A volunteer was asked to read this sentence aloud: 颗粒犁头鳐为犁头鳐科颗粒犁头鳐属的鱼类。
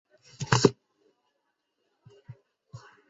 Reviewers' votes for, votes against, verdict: 0, 2, rejected